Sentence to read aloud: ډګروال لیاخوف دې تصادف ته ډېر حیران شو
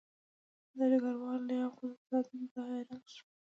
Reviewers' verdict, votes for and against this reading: rejected, 0, 2